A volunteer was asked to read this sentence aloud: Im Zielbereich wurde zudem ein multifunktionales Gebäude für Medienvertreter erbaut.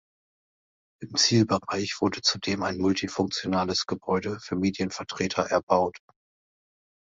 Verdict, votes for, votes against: accepted, 2, 0